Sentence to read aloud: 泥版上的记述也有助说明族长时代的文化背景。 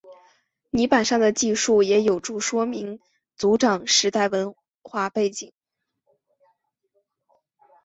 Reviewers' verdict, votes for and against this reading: accepted, 5, 0